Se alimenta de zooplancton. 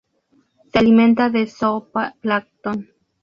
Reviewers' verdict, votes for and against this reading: rejected, 2, 2